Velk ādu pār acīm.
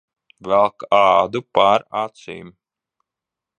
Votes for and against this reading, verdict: 2, 0, accepted